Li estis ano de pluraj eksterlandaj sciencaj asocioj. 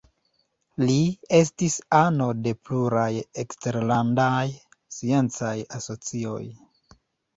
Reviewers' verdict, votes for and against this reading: accepted, 2, 0